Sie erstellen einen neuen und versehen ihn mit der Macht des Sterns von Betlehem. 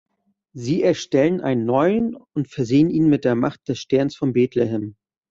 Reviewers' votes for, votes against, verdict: 2, 0, accepted